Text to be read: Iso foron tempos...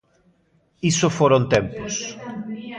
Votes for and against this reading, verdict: 1, 2, rejected